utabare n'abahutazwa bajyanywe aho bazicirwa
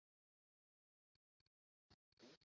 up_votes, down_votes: 0, 2